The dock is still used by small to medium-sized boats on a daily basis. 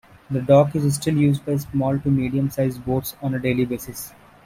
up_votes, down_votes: 1, 2